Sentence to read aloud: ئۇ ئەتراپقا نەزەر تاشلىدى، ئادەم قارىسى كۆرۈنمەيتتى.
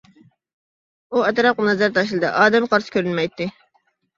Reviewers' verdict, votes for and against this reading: accepted, 2, 0